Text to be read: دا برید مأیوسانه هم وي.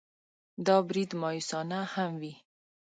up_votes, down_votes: 2, 0